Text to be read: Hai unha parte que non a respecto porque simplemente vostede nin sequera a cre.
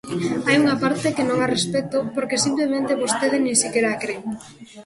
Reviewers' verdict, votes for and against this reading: accepted, 2, 0